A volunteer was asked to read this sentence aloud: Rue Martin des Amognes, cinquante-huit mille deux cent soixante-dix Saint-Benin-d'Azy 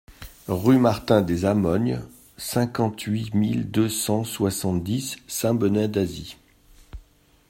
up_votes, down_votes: 1, 2